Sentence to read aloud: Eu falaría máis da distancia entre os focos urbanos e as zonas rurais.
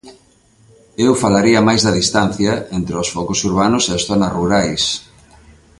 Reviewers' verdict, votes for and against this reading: accepted, 2, 0